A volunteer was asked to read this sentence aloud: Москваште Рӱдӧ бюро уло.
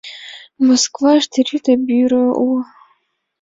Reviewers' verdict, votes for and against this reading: accepted, 2, 0